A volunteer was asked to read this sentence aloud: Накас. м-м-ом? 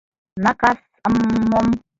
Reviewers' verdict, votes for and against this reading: rejected, 0, 2